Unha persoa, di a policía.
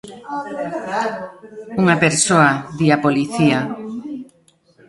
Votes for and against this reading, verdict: 0, 2, rejected